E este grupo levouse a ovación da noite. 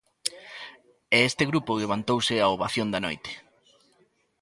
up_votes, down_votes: 0, 2